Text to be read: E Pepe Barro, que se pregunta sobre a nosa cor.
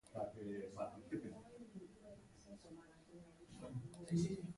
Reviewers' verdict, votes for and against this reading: rejected, 0, 2